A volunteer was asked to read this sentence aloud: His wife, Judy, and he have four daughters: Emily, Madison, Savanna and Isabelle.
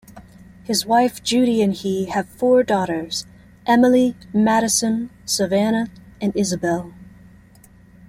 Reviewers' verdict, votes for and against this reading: accepted, 3, 0